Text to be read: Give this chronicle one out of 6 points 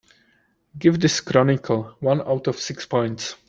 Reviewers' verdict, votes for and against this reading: rejected, 0, 2